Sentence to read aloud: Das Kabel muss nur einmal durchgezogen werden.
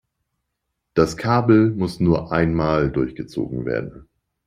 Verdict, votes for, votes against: accepted, 2, 0